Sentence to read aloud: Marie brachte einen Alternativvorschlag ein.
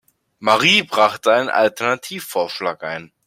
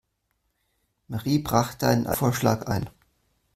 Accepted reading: first